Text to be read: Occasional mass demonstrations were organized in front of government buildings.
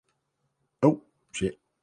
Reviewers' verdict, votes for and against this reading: rejected, 0, 2